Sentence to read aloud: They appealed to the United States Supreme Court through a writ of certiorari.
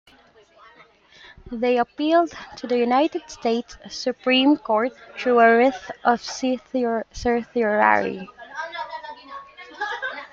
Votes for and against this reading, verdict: 1, 2, rejected